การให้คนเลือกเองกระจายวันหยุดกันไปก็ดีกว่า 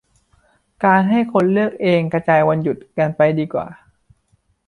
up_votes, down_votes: 1, 2